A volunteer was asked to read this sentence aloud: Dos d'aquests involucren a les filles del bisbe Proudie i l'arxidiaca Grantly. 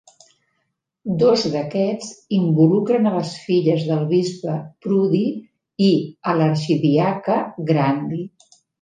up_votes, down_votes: 1, 2